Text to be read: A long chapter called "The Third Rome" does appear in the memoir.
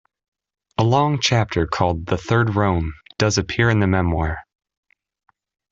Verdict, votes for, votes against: accepted, 2, 0